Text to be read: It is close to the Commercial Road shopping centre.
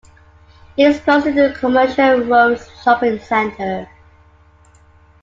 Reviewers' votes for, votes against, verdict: 2, 1, accepted